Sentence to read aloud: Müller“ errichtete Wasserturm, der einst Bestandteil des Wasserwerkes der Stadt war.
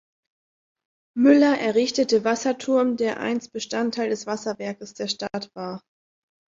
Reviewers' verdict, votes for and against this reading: accepted, 2, 0